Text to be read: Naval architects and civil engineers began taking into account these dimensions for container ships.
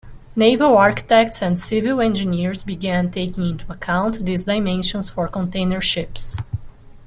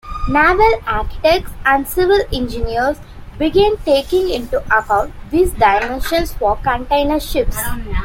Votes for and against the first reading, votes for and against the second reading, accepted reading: 2, 0, 0, 2, first